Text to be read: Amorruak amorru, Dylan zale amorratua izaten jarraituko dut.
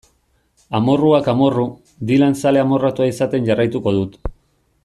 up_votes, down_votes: 2, 0